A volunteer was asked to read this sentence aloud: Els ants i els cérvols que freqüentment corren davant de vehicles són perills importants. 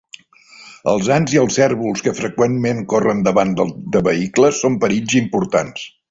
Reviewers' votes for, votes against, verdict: 0, 2, rejected